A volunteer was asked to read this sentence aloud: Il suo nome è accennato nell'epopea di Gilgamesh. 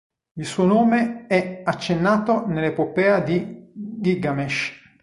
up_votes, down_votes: 1, 3